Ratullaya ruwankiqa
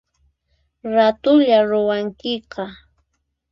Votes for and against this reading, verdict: 4, 0, accepted